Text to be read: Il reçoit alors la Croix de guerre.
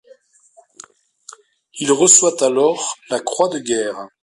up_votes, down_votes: 2, 0